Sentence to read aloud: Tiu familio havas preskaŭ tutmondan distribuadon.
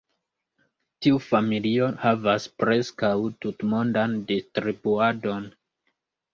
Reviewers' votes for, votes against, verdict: 2, 1, accepted